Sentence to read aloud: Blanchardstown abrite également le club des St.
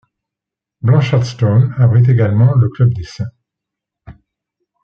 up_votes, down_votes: 2, 0